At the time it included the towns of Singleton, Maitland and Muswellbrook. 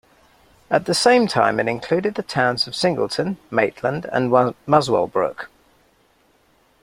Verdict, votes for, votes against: rejected, 1, 2